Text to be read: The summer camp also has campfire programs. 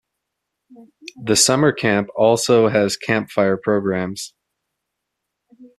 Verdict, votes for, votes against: accepted, 2, 0